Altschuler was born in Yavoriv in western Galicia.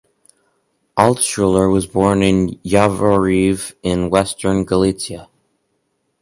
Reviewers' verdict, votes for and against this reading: accepted, 4, 0